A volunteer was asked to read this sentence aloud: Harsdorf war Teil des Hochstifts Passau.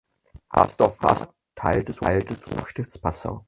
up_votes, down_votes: 0, 4